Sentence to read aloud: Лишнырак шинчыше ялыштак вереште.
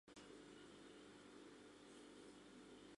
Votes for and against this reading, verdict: 0, 2, rejected